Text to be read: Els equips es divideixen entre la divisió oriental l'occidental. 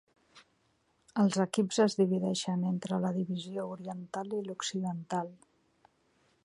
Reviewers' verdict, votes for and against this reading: rejected, 1, 2